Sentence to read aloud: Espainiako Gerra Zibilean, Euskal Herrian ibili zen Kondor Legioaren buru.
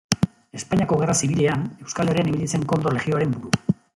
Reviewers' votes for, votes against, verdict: 0, 2, rejected